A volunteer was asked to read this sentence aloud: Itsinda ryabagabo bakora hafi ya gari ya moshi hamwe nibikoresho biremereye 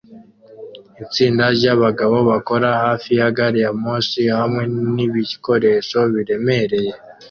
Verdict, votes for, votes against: accepted, 2, 0